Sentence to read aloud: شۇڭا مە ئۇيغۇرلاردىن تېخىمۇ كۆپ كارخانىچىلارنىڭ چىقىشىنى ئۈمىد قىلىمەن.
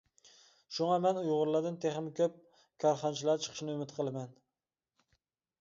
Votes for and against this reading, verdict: 0, 2, rejected